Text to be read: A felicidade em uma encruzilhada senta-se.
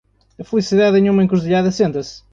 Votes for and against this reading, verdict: 2, 0, accepted